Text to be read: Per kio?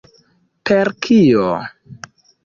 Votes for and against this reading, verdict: 2, 1, accepted